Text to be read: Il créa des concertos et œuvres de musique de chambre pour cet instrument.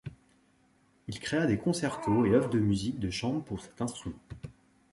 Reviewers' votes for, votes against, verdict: 1, 2, rejected